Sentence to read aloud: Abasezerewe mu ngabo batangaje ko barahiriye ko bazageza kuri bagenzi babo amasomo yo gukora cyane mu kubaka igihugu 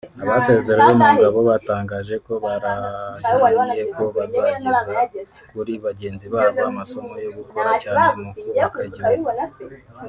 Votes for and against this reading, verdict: 1, 2, rejected